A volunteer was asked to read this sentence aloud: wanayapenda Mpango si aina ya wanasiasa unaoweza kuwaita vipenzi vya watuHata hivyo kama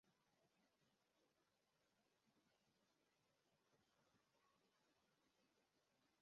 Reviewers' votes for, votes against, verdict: 0, 2, rejected